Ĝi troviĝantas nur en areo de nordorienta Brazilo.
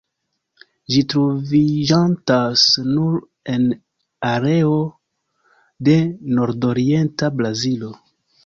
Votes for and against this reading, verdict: 1, 2, rejected